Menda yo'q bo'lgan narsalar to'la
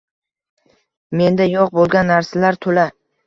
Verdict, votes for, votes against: accepted, 2, 0